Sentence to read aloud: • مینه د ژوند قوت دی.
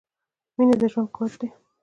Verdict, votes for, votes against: rejected, 1, 2